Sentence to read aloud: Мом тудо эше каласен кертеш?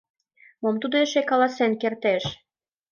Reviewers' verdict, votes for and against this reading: accepted, 2, 0